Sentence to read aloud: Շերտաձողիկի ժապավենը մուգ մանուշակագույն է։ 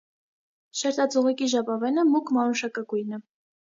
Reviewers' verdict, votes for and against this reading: accepted, 2, 0